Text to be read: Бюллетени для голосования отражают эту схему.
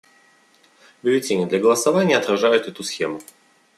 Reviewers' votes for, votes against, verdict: 2, 0, accepted